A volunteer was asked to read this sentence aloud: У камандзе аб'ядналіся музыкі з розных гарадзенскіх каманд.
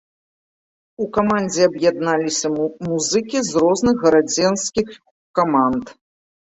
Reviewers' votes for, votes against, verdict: 0, 2, rejected